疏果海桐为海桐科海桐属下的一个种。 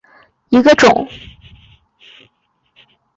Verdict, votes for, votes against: rejected, 0, 2